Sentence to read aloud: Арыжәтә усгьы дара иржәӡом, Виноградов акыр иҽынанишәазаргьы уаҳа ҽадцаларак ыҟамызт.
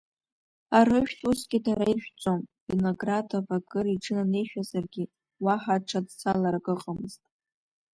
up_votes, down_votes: 1, 2